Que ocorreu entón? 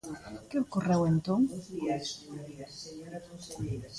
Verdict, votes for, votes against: rejected, 0, 2